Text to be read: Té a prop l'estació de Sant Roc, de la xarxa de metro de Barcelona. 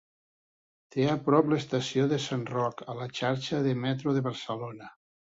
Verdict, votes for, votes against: rejected, 1, 2